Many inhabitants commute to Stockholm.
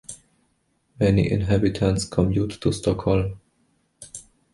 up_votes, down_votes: 2, 0